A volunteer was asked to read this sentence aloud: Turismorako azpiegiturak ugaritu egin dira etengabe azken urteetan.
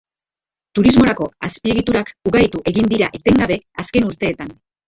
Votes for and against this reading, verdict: 2, 3, rejected